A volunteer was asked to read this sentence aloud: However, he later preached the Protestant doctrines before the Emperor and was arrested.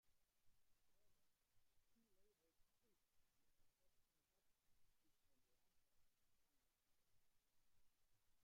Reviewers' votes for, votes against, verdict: 1, 2, rejected